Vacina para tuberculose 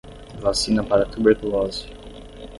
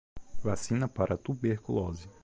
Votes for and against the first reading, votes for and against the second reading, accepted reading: 0, 5, 2, 1, second